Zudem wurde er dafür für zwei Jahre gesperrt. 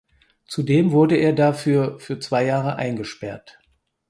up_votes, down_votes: 0, 4